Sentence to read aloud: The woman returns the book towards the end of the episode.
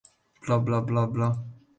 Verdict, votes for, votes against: rejected, 0, 2